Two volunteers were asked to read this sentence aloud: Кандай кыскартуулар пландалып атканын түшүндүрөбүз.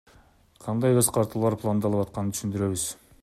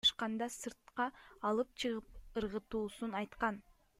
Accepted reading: first